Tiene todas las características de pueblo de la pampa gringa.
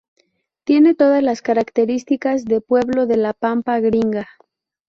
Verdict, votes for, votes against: rejected, 0, 2